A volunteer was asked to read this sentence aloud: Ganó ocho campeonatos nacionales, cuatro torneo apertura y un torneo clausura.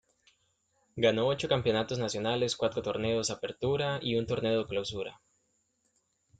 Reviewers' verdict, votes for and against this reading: rejected, 0, 2